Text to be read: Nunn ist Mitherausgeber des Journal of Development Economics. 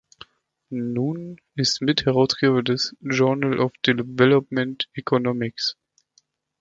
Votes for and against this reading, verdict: 0, 2, rejected